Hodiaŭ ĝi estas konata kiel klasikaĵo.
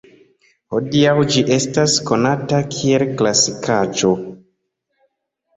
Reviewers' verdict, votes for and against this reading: accepted, 3, 0